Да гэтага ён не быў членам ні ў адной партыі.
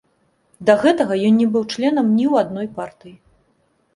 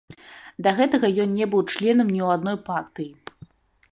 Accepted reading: first